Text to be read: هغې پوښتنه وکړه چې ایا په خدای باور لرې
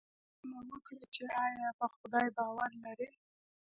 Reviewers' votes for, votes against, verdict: 2, 0, accepted